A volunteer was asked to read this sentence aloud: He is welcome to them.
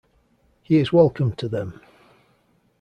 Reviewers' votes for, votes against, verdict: 2, 0, accepted